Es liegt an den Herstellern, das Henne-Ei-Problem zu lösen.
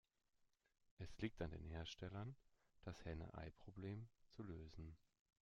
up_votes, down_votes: 2, 0